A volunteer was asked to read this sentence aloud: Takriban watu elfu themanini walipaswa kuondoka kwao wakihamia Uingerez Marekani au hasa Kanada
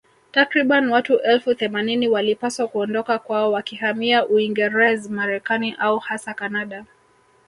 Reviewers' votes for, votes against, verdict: 1, 2, rejected